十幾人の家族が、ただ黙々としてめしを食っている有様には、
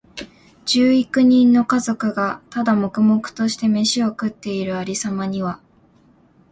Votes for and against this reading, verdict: 4, 0, accepted